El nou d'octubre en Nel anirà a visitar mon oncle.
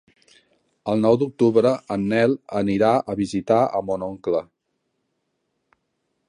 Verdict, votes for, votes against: rejected, 0, 2